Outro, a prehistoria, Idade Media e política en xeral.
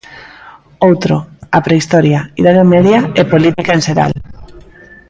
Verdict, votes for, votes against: rejected, 1, 2